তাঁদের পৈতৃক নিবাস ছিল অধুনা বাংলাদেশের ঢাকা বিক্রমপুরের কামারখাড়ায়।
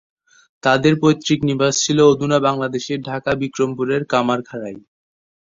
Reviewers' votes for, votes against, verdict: 2, 0, accepted